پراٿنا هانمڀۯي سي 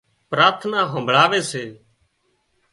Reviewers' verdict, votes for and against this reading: rejected, 0, 2